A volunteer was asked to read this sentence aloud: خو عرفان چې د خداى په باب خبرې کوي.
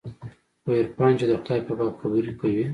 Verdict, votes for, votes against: accepted, 2, 0